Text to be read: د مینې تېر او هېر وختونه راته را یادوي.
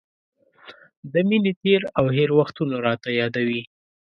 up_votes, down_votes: 3, 0